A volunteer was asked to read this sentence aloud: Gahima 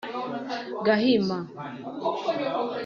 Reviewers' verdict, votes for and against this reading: accepted, 2, 1